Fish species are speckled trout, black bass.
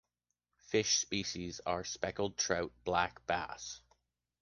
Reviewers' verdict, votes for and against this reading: accepted, 2, 0